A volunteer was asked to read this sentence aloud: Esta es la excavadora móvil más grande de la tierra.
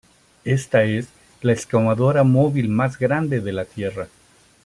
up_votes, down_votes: 0, 2